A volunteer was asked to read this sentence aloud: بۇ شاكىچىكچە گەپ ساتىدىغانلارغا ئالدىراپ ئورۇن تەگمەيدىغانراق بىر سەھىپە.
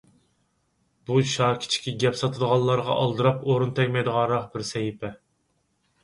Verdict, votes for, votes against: rejected, 2, 4